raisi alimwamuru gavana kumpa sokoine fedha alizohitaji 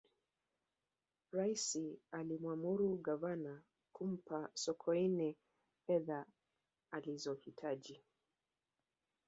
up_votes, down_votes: 0, 2